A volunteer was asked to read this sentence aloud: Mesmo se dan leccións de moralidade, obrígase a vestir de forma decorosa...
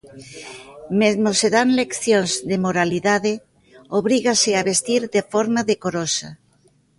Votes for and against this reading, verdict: 1, 2, rejected